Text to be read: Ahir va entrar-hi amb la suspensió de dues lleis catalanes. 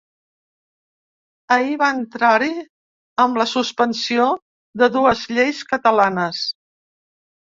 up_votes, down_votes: 3, 0